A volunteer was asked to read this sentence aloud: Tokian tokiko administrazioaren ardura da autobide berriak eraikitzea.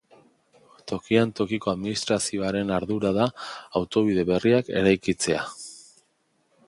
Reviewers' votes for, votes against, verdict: 3, 0, accepted